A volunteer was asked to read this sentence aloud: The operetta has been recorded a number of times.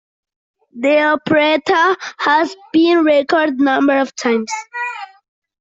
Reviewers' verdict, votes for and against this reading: rejected, 1, 2